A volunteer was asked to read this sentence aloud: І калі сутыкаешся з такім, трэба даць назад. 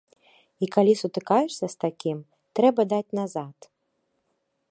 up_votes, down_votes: 2, 0